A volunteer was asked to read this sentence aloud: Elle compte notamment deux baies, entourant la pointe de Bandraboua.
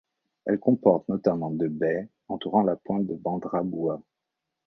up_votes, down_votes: 1, 2